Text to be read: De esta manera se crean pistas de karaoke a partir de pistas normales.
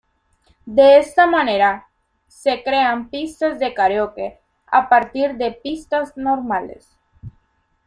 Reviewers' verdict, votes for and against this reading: rejected, 1, 2